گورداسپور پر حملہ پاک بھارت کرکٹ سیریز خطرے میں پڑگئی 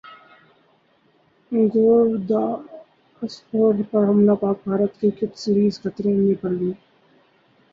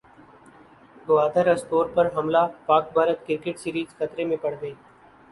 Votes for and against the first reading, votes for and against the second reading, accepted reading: 0, 2, 3, 0, second